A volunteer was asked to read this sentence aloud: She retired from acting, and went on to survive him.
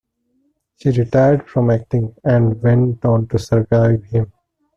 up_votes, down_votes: 2, 1